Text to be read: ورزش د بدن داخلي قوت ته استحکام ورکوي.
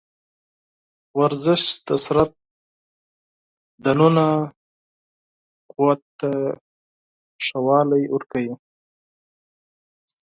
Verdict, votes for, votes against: rejected, 0, 4